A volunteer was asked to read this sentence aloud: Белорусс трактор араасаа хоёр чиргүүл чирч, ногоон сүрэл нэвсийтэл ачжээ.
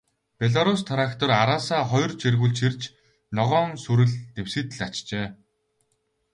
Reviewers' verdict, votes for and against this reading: accepted, 4, 0